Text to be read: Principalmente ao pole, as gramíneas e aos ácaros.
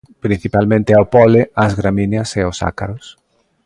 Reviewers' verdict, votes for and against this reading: accepted, 2, 0